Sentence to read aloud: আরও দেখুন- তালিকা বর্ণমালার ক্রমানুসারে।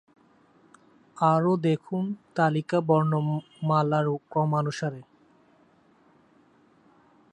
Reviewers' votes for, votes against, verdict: 0, 2, rejected